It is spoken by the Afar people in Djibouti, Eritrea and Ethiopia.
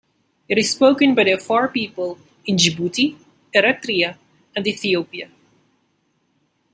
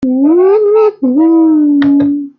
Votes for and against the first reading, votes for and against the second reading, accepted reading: 2, 0, 0, 2, first